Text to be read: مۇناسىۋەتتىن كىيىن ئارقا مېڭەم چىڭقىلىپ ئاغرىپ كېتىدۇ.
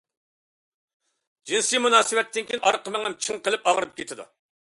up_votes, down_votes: 0, 2